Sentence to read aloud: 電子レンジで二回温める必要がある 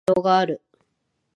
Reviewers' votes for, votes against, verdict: 0, 2, rejected